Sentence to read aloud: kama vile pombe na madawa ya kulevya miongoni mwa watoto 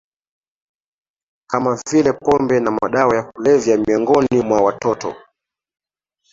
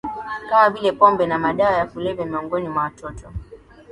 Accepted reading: first